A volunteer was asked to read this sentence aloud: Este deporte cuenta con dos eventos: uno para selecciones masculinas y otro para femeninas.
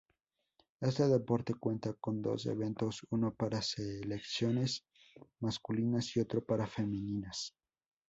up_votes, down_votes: 0, 4